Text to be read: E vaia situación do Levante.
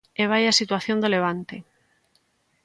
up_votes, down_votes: 2, 0